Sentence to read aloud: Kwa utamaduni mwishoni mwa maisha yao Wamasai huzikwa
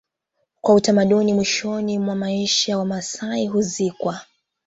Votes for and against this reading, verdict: 2, 1, accepted